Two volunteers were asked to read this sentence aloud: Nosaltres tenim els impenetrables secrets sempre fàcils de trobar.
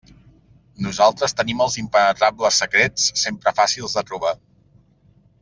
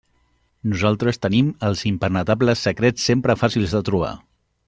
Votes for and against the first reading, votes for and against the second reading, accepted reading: 2, 1, 0, 2, first